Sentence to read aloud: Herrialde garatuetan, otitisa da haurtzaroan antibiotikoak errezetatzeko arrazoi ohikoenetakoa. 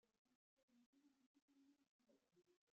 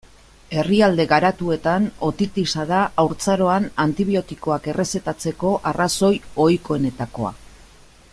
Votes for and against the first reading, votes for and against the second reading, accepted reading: 0, 2, 2, 0, second